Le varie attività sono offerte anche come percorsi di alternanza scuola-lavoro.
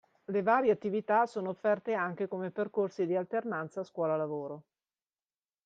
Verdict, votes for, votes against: accepted, 2, 0